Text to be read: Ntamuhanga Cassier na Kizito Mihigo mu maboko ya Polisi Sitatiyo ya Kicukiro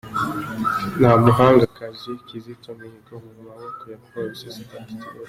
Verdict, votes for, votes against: rejected, 0, 2